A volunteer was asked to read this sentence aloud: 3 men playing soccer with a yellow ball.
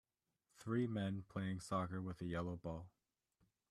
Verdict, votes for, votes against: rejected, 0, 2